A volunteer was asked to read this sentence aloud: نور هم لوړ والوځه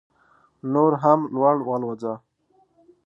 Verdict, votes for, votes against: accepted, 3, 0